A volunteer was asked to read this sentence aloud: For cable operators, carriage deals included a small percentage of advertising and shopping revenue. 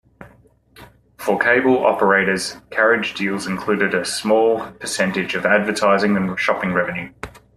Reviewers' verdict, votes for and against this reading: accepted, 2, 0